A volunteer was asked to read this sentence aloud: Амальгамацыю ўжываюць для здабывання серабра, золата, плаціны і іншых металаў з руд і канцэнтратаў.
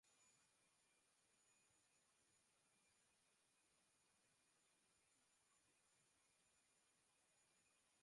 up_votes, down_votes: 0, 2